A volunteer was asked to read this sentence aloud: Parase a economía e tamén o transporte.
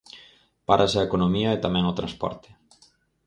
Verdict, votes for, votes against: rejected, 2, 4